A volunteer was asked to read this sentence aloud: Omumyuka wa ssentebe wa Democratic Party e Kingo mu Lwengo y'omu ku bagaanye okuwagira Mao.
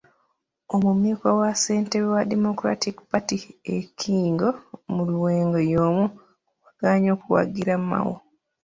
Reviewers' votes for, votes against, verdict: 1, 2, rejected